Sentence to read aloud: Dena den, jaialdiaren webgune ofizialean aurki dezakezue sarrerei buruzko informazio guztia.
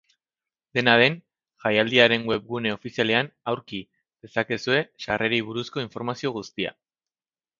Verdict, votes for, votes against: accepted, 2, 0